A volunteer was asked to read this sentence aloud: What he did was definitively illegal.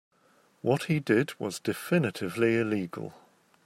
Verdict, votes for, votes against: accepted, 2, 0